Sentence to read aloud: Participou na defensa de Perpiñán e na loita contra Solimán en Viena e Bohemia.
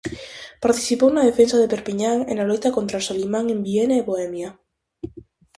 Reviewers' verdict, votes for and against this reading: accepted, 4, 0